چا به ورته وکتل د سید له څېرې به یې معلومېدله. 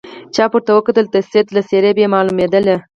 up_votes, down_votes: 0, 4